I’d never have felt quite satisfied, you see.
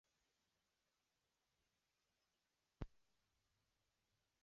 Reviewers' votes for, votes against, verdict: 0, 2, rejected